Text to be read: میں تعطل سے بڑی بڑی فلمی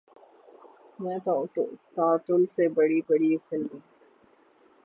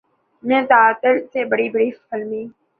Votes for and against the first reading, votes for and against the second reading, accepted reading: 6, 6, 3, 0, second